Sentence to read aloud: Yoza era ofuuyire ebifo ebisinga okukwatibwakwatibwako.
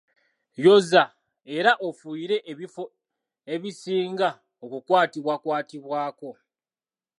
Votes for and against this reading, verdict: 2, 0, accepted